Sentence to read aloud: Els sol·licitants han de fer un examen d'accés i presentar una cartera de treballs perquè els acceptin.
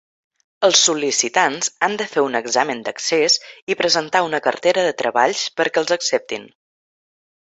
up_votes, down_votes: 3, 0